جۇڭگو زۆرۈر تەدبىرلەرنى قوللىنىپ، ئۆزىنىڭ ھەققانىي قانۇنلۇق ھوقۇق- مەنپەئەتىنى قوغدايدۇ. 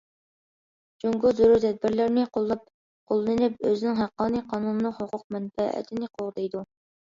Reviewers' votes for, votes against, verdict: 2, 1, accepted